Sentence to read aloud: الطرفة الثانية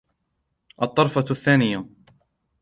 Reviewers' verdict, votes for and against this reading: accepted, 3, 0